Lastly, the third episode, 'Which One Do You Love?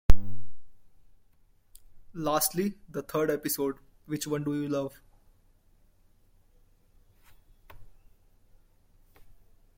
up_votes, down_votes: 2, 0